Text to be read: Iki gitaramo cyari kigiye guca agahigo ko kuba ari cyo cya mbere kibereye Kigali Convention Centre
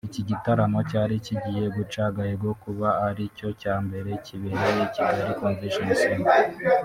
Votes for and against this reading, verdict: 0, 2, rejected